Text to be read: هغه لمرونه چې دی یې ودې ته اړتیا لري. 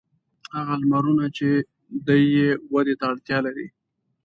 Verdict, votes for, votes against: accepted, 2, 0